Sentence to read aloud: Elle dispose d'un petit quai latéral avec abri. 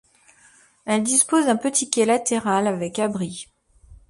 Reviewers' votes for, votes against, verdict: 2, 1, accepted